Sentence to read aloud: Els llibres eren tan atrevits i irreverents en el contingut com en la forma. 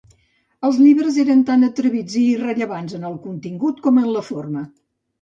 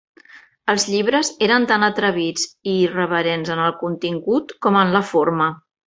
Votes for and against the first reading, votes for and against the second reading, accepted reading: 0, 2, 3, 0, second